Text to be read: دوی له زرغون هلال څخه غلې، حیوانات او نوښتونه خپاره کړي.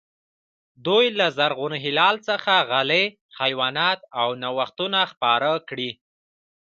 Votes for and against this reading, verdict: 1, 2, rejected